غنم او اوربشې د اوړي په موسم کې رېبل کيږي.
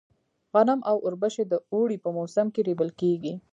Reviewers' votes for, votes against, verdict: 2, 0, accepted